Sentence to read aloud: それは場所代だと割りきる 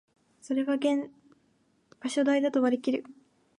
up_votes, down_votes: 0, 2